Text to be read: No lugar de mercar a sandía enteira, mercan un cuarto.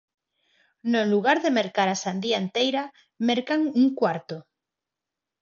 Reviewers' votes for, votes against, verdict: 4, 0, accepted